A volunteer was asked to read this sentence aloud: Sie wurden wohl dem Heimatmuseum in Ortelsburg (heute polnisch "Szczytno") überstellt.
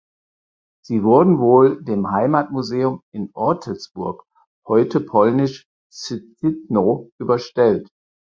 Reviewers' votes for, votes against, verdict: 4, 0, accepted